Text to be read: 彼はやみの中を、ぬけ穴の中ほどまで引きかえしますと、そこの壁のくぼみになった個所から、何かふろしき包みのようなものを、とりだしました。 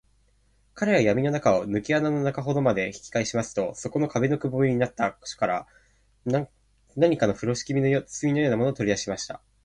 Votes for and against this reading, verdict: 0, 2, rejected